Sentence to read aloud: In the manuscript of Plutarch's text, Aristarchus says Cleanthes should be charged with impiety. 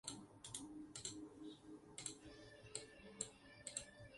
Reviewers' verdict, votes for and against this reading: rejected, 2, 4